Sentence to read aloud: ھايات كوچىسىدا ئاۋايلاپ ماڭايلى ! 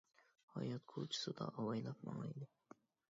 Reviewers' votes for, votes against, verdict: 0, 2, rejected